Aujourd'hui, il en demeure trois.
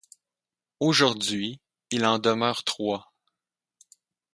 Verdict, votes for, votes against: accepted, 4, 0